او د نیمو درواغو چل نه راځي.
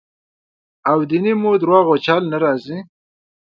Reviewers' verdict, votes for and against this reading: rejected, 0, 2